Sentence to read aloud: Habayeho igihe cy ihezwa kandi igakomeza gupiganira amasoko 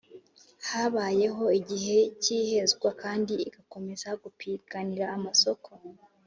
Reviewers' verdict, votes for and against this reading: accepted, 2, 0